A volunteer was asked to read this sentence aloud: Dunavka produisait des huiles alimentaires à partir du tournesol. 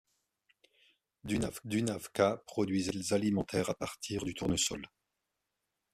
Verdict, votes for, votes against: rejected, 0, 2